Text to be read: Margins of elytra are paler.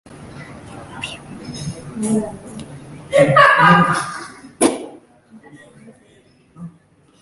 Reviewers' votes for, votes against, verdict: 0, 2, rejected